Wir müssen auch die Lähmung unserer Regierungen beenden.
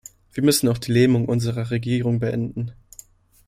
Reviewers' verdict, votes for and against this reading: rejected, 1, 2